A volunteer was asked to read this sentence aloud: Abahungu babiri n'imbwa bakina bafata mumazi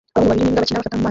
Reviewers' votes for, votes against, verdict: 0, 3, rejected